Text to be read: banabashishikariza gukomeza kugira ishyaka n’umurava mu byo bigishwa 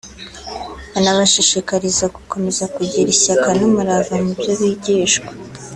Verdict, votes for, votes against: rejected, 0, 2